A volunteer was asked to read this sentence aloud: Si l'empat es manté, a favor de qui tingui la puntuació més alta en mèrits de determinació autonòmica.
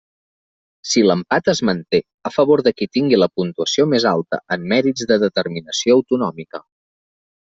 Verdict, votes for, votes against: accepted, 3, 0